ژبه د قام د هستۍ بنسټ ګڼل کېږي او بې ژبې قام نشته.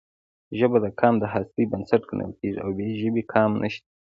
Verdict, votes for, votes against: accepted, 2, 0